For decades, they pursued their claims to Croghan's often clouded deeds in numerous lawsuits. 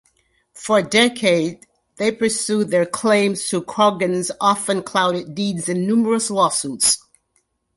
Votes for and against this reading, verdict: 0, 2, rejected